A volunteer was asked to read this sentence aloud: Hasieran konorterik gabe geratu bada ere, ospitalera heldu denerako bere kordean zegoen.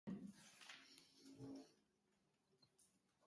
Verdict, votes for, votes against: rejected, 0, 2